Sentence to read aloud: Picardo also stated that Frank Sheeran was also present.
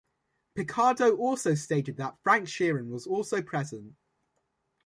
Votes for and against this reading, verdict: 2, 0, accepted